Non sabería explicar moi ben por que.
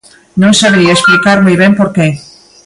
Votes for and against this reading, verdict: 2, 1, accepted